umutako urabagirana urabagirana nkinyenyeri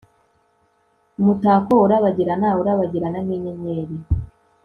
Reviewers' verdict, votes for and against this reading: accepted, 2, 1